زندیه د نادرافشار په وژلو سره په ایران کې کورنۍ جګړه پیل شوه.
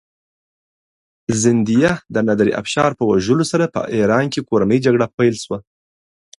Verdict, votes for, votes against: accepted, 2, 0